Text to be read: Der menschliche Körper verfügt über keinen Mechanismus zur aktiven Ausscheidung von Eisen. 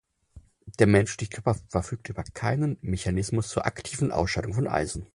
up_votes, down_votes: 2, 4